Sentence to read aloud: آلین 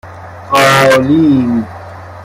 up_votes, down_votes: 0, 2